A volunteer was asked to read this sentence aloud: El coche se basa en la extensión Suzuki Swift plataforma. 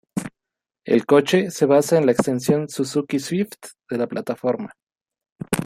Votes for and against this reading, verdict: 1, 2, rejected